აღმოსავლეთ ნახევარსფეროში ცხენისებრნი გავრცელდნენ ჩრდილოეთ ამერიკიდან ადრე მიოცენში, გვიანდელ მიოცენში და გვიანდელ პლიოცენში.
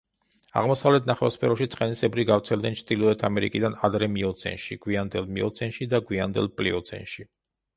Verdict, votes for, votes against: rejected, 0, 2